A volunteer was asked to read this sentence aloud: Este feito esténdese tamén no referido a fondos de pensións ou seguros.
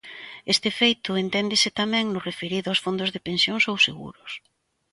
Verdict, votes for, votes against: rejected, 0, 2